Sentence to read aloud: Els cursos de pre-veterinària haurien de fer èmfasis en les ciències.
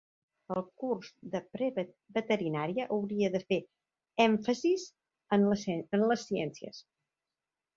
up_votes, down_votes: 0, 2